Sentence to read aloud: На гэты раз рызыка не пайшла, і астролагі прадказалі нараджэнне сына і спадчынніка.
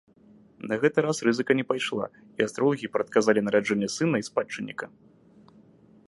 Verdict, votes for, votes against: accepted, 2, 0